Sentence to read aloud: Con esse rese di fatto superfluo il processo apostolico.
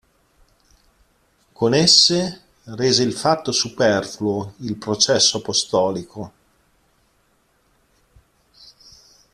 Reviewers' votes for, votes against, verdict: 0, 2, rejected